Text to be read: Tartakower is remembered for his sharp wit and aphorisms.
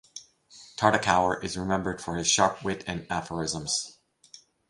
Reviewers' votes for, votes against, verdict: 4, 0, accepted